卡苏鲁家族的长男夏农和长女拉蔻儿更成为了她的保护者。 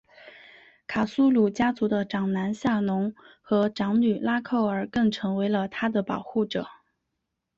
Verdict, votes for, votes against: accepted, 3, 0